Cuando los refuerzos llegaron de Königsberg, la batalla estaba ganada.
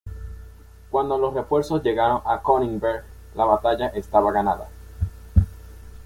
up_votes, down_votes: 1, 2